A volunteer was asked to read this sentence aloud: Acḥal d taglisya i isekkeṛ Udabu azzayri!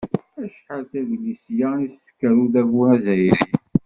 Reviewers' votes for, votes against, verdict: 1, 2, rejected